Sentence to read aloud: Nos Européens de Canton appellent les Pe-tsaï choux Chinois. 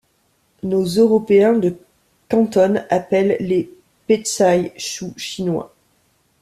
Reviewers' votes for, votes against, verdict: 2, 3, rejected